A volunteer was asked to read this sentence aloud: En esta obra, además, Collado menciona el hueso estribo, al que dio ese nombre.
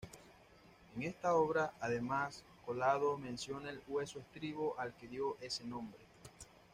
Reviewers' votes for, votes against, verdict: 0, 2, rejected